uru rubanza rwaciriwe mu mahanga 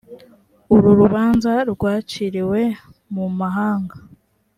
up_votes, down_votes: 3, 0